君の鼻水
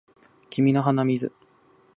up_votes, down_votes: 2, 0